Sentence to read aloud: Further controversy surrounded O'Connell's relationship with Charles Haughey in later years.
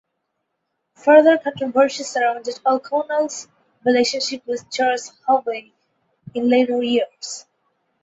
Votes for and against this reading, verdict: 4, 2, accepted